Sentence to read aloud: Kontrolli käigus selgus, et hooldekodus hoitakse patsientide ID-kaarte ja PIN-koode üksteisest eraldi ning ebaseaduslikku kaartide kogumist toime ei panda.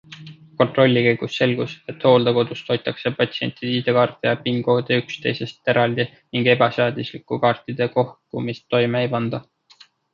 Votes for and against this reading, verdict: 2, 0, accepted